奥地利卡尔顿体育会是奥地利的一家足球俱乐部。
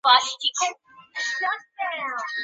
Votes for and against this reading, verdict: 2, 3, rejected